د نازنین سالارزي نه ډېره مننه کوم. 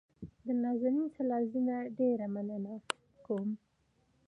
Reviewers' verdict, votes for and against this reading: accepted, 2, 0